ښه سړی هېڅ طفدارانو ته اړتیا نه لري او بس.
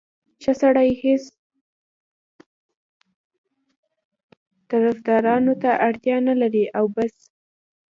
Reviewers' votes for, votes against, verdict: 1, 2, rejected